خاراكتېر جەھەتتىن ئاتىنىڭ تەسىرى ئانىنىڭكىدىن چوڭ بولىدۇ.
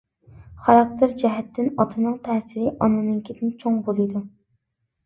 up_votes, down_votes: 2, 1